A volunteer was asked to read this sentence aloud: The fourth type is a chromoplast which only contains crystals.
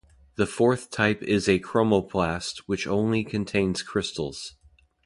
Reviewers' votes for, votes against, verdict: 2, 0, accepted